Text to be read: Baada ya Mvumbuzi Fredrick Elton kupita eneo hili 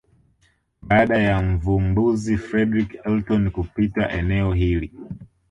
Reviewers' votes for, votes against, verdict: 1, 2, rejected